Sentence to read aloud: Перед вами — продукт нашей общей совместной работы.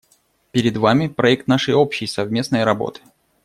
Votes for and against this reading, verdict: 0, 2, rejected